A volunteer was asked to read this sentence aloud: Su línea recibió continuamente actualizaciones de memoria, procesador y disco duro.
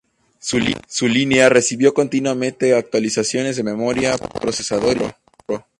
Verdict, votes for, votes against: rejected, 0, 2